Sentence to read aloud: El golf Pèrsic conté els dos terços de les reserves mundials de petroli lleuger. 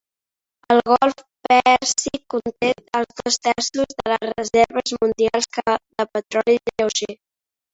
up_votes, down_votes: 1, 2